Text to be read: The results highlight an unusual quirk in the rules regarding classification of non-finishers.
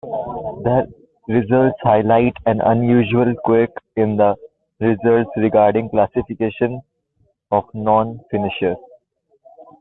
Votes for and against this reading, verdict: 2, 1, accepted